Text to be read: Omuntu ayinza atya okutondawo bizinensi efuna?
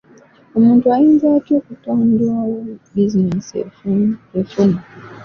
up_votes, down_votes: 1, 2